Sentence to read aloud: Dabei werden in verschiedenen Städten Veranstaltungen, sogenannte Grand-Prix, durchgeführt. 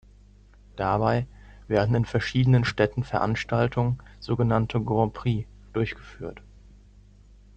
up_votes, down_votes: 2, 0